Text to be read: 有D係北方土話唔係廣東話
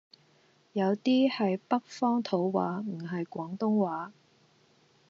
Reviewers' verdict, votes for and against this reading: accepted, 2, 0